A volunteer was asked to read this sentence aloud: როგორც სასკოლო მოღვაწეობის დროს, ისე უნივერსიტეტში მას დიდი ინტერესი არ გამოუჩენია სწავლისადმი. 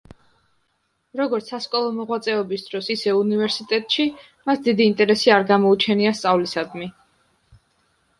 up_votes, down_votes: 2, 0